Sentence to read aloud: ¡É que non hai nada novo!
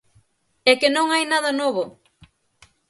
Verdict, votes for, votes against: accepted, 6, 0